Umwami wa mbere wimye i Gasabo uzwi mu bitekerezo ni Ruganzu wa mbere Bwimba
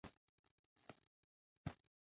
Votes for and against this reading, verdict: 0, 2, rejected